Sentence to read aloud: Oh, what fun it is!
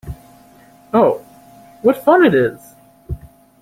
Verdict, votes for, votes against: accepted, 2, 0